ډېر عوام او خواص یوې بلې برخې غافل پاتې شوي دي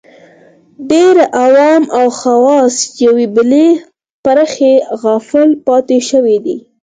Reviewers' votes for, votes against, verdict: 4, 0, accepted